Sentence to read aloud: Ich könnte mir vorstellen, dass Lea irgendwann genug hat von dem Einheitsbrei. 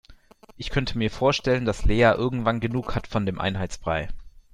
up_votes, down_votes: 0, 2